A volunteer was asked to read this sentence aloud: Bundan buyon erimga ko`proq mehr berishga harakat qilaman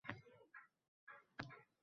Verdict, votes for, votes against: rejected, 0, 2